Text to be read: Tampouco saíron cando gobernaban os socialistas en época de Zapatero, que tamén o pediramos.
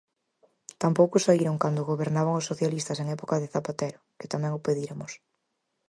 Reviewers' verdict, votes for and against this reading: rejected, 2, 4